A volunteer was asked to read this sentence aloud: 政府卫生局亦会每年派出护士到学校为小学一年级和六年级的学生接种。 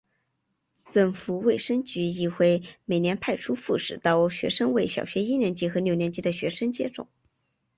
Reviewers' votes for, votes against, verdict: 2, 1, accepted